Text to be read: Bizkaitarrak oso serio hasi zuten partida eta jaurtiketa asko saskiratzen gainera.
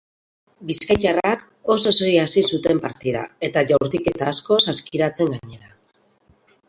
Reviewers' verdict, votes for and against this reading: rejected, 0, 2